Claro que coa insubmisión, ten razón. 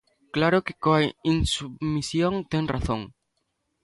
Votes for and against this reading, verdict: 0, 2, rejected